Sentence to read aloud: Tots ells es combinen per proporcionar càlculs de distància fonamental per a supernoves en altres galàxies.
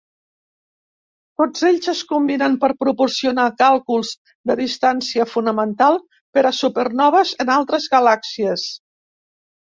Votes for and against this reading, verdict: 2, 0, accepted